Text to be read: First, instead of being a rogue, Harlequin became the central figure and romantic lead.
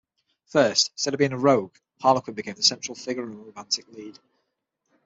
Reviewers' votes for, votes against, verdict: 6, 3, accepted